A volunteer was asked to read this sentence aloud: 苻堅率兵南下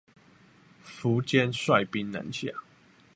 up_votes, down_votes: 2, 0